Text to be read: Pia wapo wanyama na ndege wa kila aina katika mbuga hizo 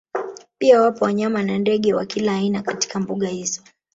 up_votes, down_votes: 2, 1